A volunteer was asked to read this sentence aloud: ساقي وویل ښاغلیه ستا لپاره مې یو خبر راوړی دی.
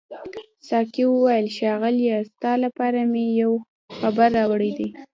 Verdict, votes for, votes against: rejected, 1, 2